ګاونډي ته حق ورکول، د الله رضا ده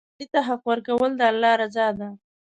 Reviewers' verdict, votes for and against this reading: rejected, 1, 2